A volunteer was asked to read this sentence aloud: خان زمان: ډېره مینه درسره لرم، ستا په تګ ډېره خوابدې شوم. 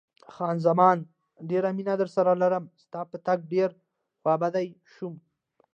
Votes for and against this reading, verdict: 2, 0, accepted